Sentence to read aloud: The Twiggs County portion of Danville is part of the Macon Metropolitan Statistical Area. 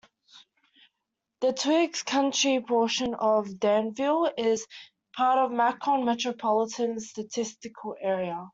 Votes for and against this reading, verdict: 1, 2, rejected